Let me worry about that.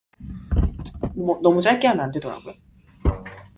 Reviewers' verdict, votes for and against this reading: rejected, 0, 2